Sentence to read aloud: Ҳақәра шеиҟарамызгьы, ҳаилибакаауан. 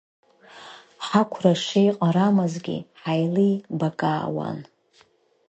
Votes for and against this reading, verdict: 1, 2, rejected